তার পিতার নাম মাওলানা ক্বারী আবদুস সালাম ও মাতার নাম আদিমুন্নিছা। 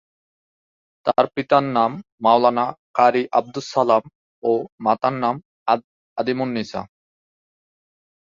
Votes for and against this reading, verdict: 2, 4, rejected